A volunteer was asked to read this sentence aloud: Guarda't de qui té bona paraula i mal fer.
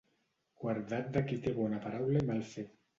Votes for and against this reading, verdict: 0, 2, rejected